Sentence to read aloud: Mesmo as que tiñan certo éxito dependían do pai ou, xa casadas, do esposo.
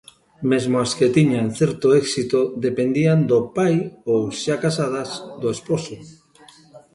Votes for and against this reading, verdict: 2, 0, accepted